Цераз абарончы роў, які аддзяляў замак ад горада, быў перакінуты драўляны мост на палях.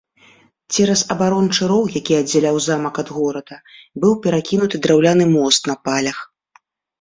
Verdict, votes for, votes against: accepted, 2, 0